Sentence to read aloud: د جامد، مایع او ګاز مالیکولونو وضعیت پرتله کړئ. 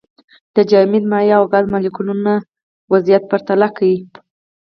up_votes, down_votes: 0, 4